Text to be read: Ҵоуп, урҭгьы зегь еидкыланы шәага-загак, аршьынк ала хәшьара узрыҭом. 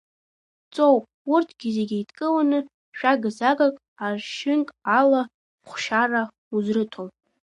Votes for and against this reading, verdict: 1, 2, rejected